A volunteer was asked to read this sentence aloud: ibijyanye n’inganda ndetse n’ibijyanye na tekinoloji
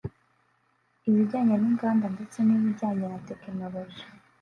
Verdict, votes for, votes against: rejected, 0, 2